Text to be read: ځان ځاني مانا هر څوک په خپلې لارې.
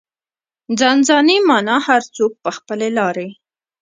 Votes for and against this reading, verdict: 1, 2, rejected